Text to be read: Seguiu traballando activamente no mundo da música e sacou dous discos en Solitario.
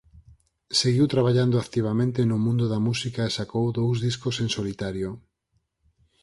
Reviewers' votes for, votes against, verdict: 4, 0, accepted